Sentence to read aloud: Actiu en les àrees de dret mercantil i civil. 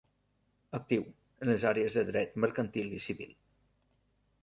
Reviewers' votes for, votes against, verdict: 1, 2, rejected